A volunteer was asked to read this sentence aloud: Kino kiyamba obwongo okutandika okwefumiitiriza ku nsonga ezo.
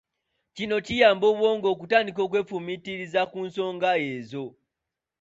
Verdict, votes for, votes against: accepted, 2, 1